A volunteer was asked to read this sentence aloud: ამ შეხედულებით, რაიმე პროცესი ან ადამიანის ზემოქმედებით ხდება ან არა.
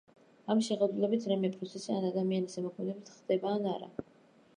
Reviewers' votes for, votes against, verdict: 0, 2, rejected